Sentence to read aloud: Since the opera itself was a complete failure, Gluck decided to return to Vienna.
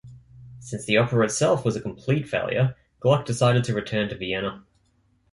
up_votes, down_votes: 2, 0